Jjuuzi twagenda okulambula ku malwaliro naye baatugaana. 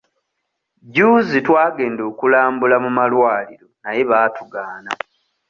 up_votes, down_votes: 0, 2